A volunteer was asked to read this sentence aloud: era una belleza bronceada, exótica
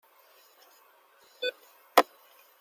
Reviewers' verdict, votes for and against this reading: rejected, 0, 2